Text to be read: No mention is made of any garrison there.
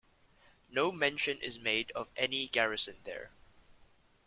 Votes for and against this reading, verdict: 2, 0, accepted